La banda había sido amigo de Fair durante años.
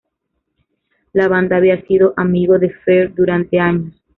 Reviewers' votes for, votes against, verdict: 1, 2, rejected